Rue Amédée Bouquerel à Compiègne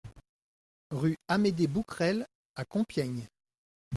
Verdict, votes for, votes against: accepted, 2, 0